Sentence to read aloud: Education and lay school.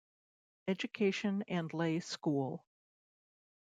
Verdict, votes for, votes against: accepted, 2, 0